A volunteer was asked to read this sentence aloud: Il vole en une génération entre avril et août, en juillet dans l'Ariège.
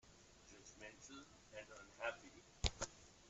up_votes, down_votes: 0, 2